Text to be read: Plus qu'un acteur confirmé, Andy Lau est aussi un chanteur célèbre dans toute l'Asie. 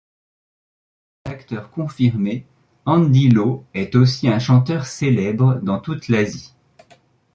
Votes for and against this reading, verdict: 1, 2, rejected